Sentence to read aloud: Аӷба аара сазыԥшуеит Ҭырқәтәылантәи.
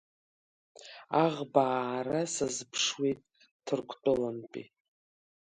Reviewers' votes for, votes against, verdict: 3, 1, accepted